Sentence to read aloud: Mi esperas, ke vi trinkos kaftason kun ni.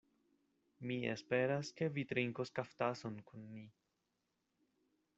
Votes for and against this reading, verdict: 1, 2, rejected